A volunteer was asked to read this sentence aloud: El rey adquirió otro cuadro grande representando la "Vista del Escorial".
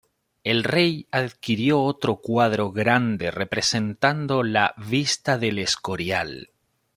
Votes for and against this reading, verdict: 2, 0, accepted